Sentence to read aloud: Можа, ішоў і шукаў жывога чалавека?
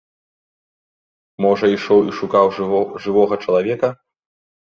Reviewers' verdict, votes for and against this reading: rejected, 1, 2